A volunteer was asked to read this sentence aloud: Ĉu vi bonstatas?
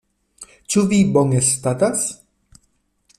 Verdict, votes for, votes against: rejected, 1, 2